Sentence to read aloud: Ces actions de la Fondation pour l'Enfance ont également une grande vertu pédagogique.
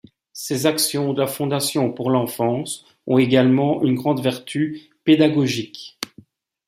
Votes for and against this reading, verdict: 2, 0, accepted